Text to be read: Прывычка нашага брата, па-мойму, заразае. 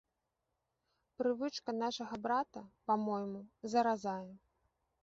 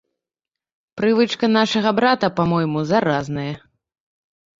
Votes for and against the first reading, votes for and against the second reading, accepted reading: 2, 1, 1, 2, first